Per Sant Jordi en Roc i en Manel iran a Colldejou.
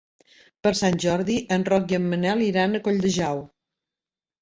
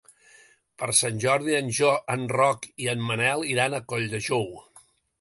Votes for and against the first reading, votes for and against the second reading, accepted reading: 2, 1, 0, 2, first